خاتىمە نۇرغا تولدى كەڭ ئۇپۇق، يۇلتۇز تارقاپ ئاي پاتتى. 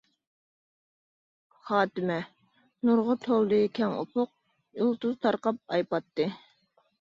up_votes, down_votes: 2, 1